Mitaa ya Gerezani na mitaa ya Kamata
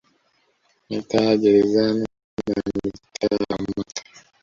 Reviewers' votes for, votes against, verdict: 1, 2, rejected